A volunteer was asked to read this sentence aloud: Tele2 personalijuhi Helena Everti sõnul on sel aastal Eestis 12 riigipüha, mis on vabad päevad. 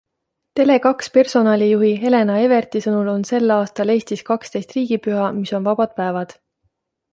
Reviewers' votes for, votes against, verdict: 0, 2, rejected